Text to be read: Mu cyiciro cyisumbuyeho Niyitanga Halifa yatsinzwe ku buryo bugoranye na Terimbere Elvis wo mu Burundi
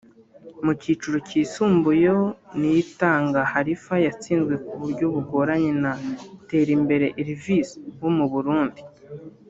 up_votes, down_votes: 1, 2